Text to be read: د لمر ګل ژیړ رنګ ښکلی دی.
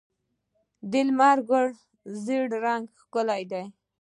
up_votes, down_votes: 2, 0